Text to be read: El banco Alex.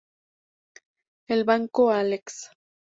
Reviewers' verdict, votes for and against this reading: accepted, 2, 0